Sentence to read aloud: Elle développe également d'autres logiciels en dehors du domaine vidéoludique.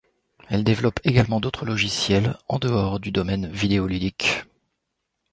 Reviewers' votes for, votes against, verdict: 2, 0, accepted